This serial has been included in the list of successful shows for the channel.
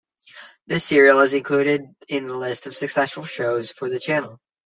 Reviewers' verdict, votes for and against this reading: rejected, 1, 2